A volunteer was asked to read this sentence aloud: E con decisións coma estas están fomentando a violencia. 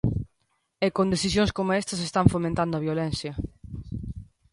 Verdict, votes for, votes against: accepted, 2, 0